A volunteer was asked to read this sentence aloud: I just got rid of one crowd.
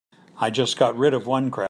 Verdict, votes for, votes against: rejected, 0, 2